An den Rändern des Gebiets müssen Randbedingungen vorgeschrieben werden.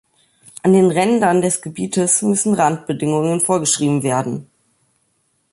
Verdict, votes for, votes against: accepted, 2, 0